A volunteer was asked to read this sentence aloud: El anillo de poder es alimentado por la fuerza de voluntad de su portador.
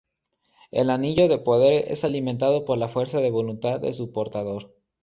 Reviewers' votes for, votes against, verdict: 2, 0, accepted